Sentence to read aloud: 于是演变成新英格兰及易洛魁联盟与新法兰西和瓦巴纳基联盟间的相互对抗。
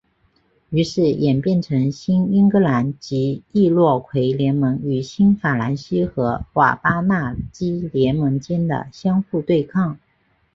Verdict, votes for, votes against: accepted, 2, 0